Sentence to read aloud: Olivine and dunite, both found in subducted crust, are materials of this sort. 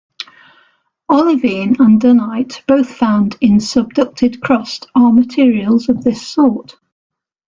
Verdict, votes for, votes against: accepted, 2, 0